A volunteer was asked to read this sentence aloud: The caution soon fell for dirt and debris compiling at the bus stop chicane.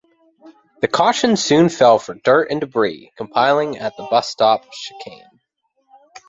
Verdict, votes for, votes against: accepted, 2, 0